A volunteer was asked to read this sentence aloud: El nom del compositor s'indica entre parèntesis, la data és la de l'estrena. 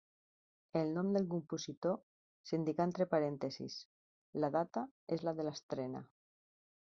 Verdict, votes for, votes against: rejected, 1, 2